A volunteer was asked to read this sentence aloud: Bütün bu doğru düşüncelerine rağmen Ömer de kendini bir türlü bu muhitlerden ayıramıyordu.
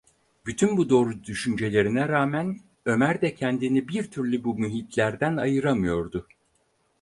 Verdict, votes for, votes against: accepted, 4, 0